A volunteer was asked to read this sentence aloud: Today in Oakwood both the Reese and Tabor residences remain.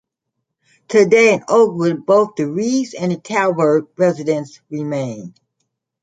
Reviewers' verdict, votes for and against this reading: rejected, 0, 2